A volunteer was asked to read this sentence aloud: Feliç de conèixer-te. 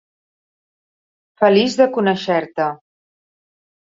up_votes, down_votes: 1, 2